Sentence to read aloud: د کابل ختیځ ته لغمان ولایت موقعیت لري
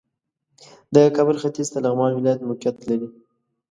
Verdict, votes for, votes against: accepted, 2, 0